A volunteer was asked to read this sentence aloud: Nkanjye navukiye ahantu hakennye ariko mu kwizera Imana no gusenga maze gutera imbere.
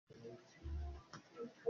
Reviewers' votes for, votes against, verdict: 0, 2, rejected